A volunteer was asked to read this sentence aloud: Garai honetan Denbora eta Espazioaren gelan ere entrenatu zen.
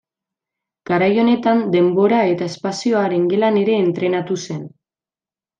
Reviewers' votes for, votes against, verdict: 2, 0, accepted